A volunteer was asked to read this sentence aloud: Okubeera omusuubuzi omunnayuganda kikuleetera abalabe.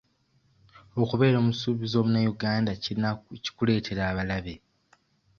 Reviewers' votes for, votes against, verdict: 2, 1, accepted